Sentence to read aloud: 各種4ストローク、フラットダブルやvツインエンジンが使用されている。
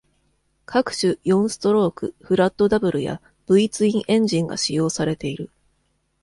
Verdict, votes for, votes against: rejected, 0, 2